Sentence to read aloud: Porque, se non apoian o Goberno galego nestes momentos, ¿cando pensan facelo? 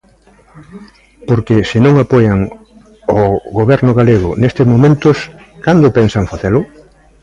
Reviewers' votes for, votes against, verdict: 2, 1, accepted